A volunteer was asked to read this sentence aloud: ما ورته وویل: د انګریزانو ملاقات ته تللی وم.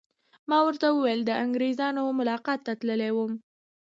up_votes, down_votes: 2, 0